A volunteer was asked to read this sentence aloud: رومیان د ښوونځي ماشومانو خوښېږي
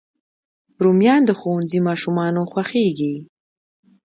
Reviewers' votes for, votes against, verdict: 2, 0, accepted